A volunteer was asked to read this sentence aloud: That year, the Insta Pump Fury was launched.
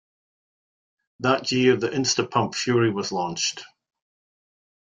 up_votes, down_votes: 2, 0